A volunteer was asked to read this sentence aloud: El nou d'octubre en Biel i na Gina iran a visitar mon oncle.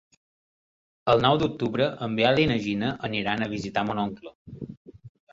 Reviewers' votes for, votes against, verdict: 1, 2, rejected